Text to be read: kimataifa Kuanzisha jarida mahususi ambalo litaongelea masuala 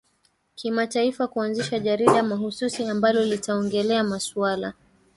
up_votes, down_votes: 1, 2